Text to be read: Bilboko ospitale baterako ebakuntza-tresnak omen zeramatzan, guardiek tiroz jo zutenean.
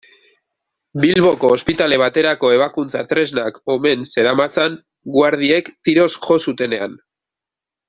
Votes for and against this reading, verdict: 0, 2, rejected